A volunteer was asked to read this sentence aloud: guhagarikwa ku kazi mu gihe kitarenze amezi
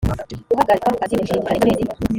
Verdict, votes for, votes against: rejected, 0, 2